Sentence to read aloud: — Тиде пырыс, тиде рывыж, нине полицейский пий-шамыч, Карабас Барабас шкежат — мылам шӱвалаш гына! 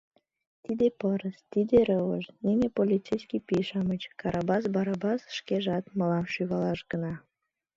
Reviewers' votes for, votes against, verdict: 2, 0, accepted